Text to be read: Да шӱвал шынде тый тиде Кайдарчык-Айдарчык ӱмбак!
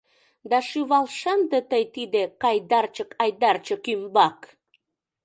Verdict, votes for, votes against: accepted, 2, 0